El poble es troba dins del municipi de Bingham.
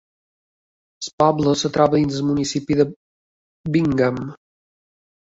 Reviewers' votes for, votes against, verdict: 1, 2, rejected